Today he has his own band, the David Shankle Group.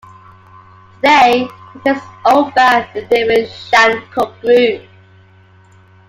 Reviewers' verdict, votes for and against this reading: rejected, 0, 2